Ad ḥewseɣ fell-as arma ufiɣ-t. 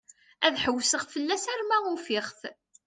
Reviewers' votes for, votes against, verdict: 2, 0, accepted